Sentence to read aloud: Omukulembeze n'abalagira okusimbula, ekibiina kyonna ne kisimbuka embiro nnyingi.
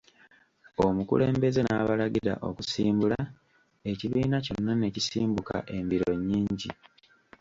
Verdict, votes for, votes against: rejected, 1, 3